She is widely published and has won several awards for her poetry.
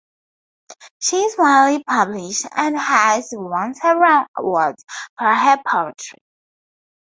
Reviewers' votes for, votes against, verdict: 0, 2, rejected